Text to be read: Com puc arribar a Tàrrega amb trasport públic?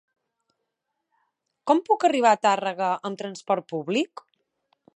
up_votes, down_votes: 2, 0